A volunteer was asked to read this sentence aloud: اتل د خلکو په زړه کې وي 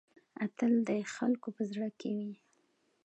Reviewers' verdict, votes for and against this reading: accepted, 2, 0